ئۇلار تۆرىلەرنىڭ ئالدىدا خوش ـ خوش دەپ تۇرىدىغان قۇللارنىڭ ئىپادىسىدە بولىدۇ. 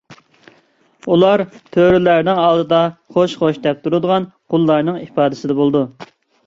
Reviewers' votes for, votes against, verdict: 2, 0, accepted